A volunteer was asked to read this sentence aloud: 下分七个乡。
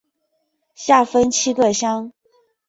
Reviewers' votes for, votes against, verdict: 5, 0, accepted